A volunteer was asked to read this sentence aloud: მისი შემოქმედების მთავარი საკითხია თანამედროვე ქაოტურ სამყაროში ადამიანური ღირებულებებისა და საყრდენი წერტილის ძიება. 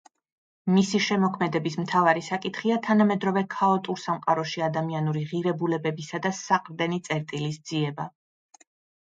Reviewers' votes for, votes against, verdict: 2, 0, accepted